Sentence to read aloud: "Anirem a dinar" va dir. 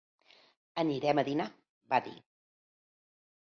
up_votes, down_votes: 2, 1